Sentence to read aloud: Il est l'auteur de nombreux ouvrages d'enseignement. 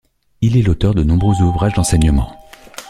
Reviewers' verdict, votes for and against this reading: accepted, 2, 0